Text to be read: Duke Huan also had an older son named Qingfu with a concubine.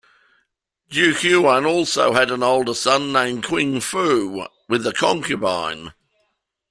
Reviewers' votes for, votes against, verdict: 2, 0, accepted